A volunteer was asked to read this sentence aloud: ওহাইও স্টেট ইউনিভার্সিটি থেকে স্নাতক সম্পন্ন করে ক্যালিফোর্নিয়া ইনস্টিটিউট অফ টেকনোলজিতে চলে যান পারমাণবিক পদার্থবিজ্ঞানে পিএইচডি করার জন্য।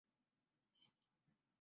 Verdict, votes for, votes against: rejected, 3, 12